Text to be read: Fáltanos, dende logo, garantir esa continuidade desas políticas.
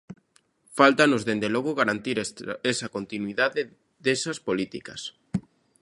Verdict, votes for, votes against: rejected, 0, 2